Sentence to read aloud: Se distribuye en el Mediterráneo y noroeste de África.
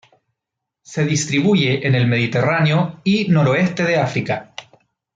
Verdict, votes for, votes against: accepted, 2, 0